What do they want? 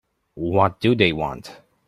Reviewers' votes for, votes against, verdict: 2, 1, accepted